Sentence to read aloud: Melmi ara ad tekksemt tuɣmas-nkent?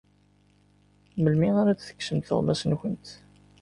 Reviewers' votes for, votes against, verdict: 2, 0, accepted